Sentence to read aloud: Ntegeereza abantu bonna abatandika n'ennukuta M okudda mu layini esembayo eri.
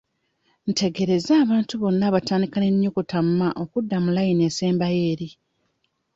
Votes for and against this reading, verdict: 1, 2, rejected